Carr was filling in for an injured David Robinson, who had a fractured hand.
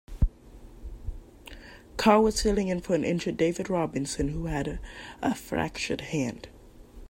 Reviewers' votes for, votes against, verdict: 0, 2, rejected